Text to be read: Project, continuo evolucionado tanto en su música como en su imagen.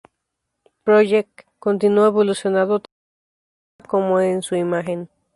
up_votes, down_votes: 0, 2